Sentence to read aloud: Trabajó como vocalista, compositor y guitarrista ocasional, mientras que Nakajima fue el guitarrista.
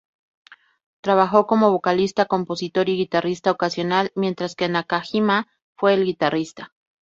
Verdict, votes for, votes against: accepted, 2, 0